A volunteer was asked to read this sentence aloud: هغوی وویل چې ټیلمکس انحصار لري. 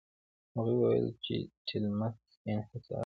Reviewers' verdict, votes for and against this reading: rejected, 1, 2